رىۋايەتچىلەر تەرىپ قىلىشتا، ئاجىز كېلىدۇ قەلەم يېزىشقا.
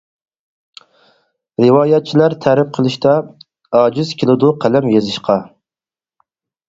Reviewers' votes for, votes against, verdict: 4, 0, accepted